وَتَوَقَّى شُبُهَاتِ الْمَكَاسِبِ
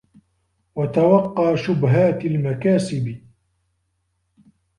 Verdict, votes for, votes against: accepted, 2, 1